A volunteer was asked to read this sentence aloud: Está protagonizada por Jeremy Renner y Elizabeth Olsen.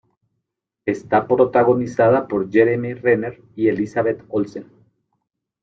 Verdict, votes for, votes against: accepted, 2, 0